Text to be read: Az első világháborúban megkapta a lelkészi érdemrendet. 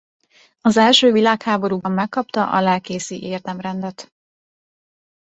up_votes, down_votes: 2, 0